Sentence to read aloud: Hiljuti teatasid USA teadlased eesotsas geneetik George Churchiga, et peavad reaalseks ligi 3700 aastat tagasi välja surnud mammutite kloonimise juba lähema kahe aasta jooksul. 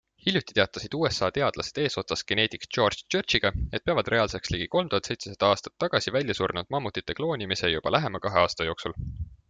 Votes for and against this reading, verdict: 0, 2, rejected